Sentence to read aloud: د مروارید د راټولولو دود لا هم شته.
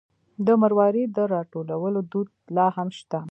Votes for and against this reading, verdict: 2, 0, accepted